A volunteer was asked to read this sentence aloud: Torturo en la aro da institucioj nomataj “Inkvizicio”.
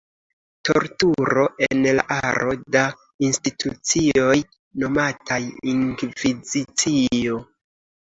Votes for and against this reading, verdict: 1, 2, rejected